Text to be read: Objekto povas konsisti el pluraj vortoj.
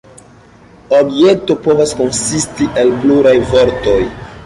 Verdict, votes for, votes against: accepted, 2, 0